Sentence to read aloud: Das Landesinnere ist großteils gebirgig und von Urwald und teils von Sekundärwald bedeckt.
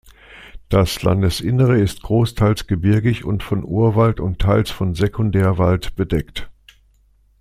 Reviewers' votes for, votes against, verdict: 2, 0, accepted